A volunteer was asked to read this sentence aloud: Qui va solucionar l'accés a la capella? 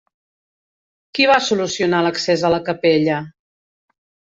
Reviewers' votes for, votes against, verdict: 3, 0, accepted